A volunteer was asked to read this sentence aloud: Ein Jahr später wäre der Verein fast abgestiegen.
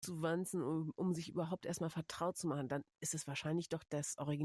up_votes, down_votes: 0, 2